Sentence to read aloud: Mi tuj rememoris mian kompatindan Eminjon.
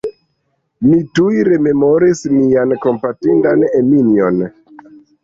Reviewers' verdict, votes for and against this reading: rejected, 0, 2